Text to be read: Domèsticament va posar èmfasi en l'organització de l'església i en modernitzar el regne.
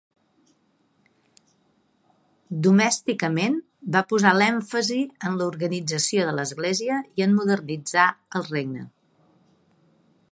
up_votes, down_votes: 1, 2